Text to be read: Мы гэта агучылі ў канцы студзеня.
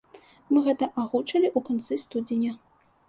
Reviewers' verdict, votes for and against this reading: rejected, 1, 2